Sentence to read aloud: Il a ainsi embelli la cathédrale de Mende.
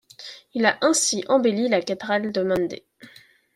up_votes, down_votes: 1, 2